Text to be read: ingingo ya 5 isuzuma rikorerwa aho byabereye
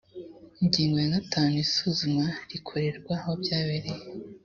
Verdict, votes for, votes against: rejected, 0, 2